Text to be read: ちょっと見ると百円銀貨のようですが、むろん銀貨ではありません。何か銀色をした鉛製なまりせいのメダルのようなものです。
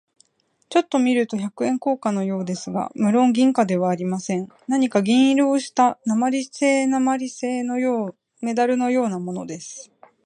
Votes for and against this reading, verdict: 0, 2, rejected